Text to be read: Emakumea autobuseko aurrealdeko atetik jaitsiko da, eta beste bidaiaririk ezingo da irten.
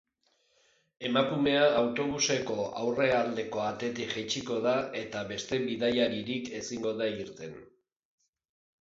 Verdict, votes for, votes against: accepted, 4, 0